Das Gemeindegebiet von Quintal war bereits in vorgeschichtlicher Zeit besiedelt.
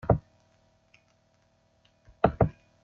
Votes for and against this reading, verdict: 0, 2, rejected